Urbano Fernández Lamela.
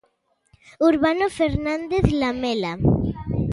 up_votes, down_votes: 2, 0